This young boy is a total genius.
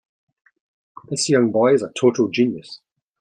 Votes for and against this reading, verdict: 2, 0, accepted